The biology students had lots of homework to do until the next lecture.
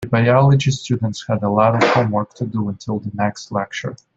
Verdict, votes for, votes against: rejected, 1, 2